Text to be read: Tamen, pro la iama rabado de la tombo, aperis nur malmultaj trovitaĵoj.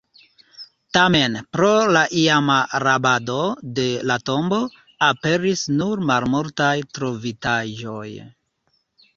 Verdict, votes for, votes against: accepted, 2, 1